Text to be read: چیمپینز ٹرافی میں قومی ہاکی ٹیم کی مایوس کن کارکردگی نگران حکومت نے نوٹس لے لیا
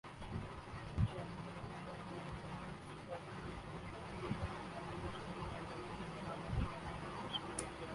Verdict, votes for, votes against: rejected, 0, 2